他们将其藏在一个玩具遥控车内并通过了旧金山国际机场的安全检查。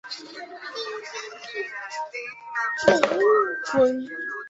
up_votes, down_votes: 1, 3